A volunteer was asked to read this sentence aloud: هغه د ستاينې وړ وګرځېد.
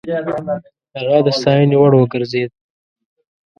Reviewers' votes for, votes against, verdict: 0, 2, rejected